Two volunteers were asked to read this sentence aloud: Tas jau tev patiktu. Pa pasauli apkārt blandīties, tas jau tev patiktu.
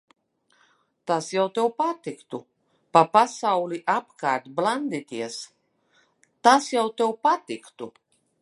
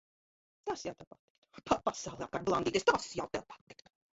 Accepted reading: first